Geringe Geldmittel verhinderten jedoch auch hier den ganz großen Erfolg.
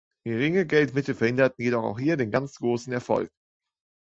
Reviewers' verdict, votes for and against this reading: accepted, 2, 0